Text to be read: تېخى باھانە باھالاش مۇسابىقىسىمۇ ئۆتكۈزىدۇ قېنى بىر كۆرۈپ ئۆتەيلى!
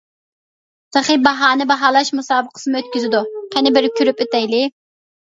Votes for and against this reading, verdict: 2, 0, accepted